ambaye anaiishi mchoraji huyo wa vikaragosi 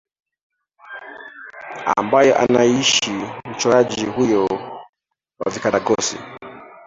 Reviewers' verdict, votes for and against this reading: rejected, 0, 2